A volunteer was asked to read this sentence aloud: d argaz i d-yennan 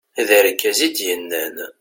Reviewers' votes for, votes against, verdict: 2, 0, accepted